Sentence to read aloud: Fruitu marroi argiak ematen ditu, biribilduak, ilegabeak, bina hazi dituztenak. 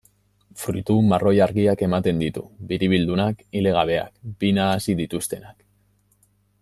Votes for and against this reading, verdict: 0, 2, rejected